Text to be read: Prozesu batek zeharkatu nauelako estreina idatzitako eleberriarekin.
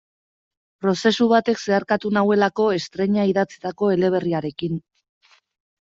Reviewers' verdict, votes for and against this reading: accepted, 2, 0